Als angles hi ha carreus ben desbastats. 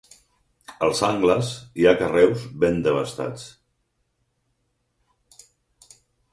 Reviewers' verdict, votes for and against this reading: rejected, 2, 4